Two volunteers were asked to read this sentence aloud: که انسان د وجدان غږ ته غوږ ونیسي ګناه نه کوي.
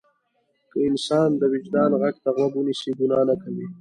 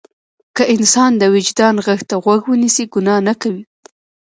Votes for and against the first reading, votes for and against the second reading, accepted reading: 2, 0, 1, 2, first